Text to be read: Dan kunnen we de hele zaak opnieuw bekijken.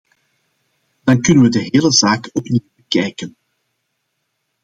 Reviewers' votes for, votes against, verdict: 1, 2, rejected